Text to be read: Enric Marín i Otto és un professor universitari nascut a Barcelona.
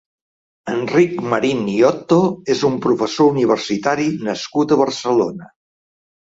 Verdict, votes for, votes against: accepted, 4, 0